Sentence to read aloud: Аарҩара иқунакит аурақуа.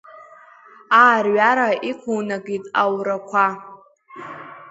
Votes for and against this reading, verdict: 2, 0, accepted